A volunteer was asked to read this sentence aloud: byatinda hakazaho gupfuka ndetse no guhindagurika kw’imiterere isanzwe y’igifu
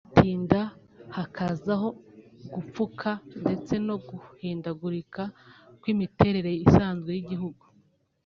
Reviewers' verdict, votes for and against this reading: rejected, 1, 2